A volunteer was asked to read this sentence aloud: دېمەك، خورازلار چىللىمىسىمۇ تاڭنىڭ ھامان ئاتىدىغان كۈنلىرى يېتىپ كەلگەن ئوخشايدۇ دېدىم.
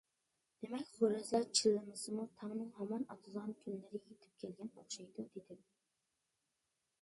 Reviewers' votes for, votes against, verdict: 0, 2, rejected